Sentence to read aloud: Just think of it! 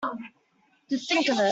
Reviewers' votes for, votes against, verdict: 1, 2, rejected